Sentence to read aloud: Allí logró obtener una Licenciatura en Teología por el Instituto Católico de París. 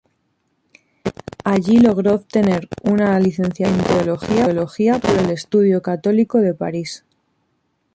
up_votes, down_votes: 0, 2